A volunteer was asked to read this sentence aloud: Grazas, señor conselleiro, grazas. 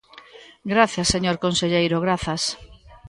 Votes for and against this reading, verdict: 2, 0, accepted